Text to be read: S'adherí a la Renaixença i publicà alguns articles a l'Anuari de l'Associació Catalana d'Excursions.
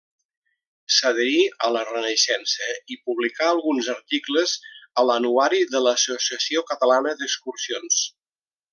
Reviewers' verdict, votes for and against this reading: accepted, 3, 1